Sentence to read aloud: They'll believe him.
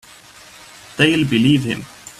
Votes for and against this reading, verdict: 2, 0, accepted